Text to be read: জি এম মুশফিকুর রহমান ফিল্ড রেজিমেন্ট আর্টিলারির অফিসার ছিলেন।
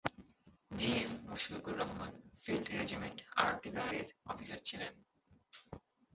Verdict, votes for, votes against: rejected, 0, 4